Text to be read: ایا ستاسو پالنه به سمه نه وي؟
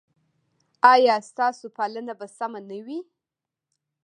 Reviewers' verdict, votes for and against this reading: rejected, 0, 2